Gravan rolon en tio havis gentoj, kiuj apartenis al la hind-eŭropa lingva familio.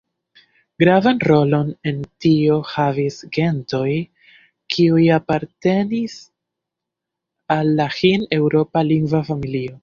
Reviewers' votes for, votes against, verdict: 0, 2, rejected